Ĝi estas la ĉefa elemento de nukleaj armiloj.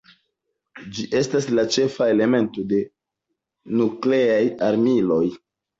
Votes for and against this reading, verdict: 2, 0, accepted